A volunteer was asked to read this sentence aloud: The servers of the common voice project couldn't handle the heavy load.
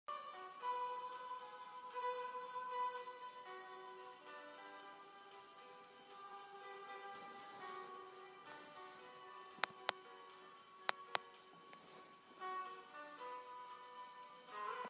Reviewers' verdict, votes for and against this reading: rejected, 0, 2